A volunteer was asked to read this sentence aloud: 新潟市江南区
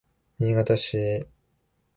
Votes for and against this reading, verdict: 0, 2, rejected